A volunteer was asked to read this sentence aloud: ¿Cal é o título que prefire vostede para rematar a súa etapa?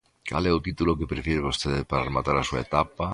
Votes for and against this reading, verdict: 2, 0, accepted